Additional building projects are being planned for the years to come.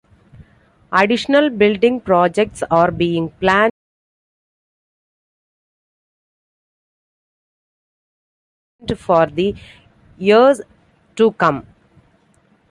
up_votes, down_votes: 0, 2